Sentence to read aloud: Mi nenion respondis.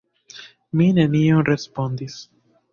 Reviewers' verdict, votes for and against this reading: rejected, 0, 2